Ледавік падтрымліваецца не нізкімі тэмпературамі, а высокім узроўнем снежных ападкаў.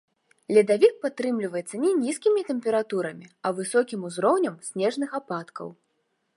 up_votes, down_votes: 2, 0